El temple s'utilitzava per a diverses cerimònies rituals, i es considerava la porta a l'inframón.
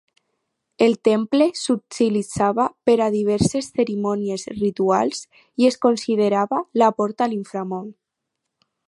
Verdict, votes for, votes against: accepted, 4, 0